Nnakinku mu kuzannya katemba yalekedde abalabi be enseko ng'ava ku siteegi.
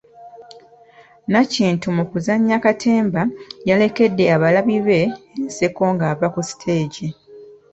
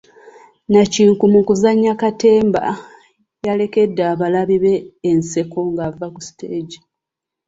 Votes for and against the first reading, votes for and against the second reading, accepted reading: 1, 2, 2, 0, second